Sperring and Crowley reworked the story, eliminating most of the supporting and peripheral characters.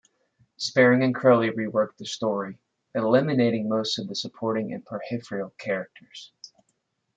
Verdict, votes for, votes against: accepted, 2, 0